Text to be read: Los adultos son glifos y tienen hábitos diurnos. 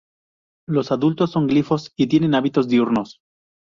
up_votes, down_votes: 0, 2